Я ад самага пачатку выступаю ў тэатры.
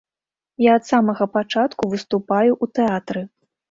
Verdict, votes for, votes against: rejected, 1, 2